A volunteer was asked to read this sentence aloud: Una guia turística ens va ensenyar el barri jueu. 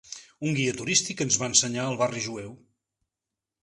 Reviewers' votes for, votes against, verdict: 0, 2, rejected